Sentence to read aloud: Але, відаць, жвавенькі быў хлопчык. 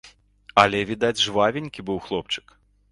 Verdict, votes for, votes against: accepted, 2, 0